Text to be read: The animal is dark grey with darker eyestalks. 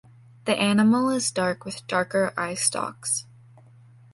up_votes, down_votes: 1, 2